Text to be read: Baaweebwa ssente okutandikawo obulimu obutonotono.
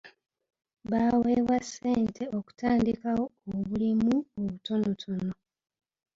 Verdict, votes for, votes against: accepted, 3, 1